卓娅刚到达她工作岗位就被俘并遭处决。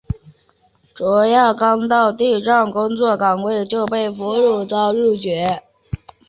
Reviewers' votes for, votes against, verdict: 3, 1, accepted